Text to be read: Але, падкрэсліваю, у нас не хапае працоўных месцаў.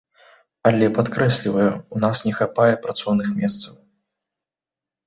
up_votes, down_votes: 2, 0